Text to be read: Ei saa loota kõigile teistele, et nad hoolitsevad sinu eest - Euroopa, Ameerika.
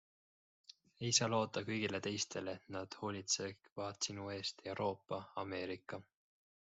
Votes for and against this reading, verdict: 2, 1, accepted